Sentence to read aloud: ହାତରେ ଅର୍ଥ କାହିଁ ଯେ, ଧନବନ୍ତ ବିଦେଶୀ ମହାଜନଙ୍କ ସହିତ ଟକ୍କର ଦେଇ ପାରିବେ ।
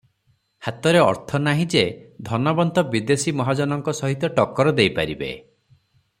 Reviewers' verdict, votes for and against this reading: rejected, 0, 3